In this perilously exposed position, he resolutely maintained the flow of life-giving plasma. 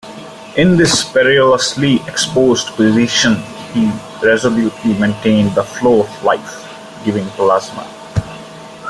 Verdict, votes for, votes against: accepted, 2, 1